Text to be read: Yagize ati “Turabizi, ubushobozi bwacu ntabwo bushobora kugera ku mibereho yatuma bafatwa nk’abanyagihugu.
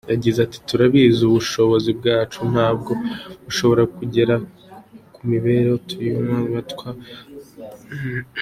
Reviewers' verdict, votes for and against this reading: rejected, 0, 2